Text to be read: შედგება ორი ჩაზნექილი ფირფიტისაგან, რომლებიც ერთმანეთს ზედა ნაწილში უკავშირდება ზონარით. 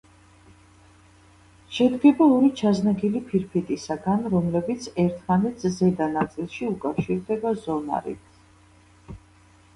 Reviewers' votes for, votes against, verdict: 1, 2, rejected